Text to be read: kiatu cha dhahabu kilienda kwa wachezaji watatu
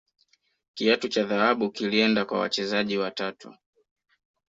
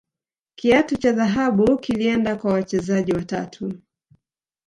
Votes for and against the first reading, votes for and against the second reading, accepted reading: 3, 0, 1, 2, first